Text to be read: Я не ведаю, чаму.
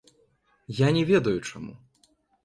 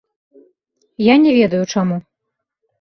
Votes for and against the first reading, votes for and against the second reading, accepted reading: 1, 2, 2, 0, second